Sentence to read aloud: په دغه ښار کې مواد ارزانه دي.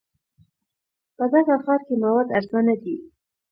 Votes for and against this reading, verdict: 1, 2, rejected